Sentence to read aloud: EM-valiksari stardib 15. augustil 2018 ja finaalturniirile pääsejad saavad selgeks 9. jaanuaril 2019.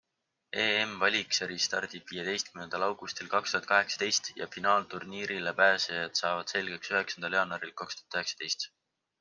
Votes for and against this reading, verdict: 0, 2, rejected